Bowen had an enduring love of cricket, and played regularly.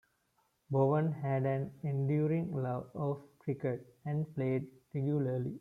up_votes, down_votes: 2, 0